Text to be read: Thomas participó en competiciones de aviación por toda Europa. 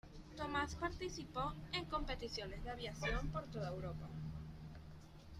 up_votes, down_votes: 1, 2